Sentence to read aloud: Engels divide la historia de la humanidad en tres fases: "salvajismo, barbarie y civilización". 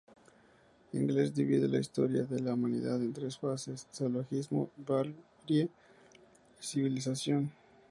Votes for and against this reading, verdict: 0, 2, rejected